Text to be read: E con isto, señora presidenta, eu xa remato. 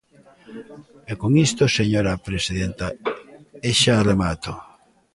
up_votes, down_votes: 0, 2